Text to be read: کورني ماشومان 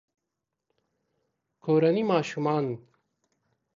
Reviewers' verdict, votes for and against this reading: accepted, 2, 0